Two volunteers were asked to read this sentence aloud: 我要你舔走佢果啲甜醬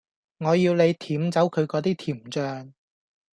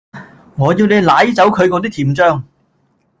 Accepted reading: first